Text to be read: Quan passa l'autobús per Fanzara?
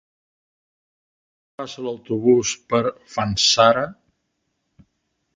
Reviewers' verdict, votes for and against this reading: rejected, 1, 2